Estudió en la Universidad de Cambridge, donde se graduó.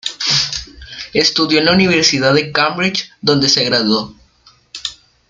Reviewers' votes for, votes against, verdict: 1, 2, rejected